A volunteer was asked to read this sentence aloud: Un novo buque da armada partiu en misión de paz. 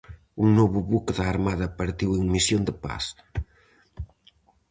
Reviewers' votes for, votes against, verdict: 4, 0, accepted